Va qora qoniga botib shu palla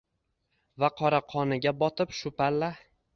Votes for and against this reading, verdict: 1, 2, rejected